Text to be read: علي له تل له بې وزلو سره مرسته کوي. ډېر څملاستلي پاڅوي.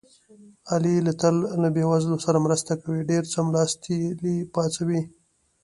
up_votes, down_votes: 1, 2